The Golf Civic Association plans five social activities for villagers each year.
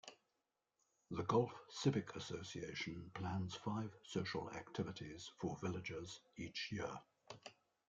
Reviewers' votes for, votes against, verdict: 2, 1, accepted